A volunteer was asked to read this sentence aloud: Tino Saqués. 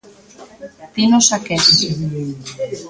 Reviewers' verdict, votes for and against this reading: rejected, 1, 2